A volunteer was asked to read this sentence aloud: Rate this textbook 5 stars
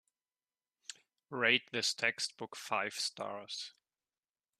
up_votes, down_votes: 0, 2